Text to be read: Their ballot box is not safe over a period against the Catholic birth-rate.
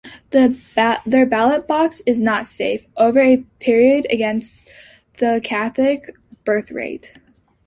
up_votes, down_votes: 2, 0